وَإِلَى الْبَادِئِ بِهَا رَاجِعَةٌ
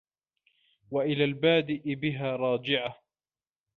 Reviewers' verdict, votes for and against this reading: accepted, 2, 0